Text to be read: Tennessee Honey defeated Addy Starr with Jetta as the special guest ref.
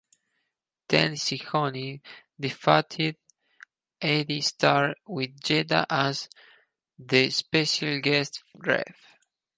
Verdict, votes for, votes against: rejected, 0, 4